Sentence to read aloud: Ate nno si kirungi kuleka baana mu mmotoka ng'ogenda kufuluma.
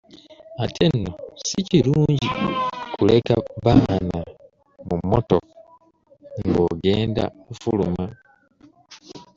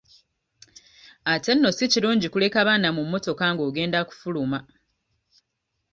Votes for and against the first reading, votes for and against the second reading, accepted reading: 0, 2, 2, 0, second